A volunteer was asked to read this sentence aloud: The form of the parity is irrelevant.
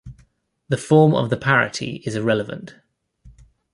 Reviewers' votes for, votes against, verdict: 2, 0, accepted